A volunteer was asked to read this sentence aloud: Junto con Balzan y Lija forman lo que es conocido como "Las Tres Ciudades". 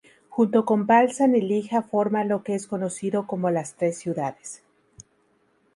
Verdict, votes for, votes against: accepted, 4, 0